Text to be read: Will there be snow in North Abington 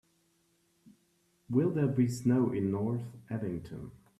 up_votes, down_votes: 2, 1